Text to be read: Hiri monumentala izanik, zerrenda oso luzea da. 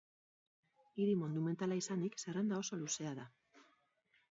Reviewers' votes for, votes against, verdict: 2, 2, rejected